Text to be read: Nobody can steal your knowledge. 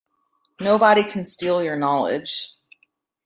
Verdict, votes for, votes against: accepted, 2, 0